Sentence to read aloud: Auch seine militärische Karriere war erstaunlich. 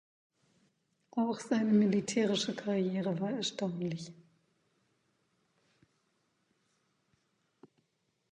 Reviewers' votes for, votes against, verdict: 2, 0, accepted